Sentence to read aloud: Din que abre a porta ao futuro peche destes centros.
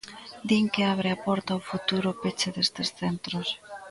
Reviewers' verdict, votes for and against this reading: accepted, 2, 0